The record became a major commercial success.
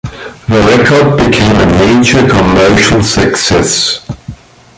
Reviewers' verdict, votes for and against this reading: rejected, 1, 2